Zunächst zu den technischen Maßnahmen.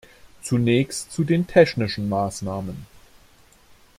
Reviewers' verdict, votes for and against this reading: accepted, 2, 0